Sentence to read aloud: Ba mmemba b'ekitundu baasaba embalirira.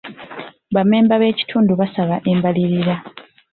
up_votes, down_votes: 2, 0